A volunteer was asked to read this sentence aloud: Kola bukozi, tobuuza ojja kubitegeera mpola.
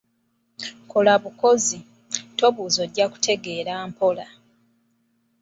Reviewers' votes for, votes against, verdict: 0, 2, rejected